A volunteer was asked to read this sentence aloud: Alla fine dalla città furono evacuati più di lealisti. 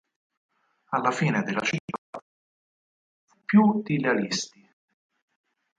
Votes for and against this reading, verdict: 2, 4, rejected